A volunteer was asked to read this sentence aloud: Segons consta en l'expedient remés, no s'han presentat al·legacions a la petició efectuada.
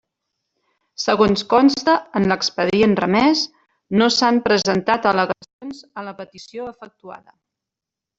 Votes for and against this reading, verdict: 0, 2, rejected